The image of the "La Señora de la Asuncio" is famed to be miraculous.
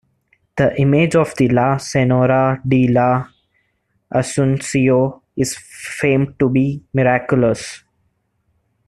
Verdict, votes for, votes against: accepted, 3, 0